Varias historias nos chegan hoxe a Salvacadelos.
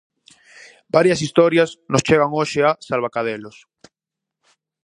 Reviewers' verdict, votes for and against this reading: accepted, 4, 0